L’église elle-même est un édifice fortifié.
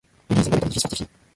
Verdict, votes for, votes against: rejected, 0, 2